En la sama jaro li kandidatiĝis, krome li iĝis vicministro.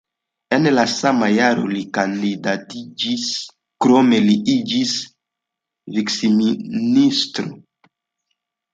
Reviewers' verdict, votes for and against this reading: rejected, 0, 2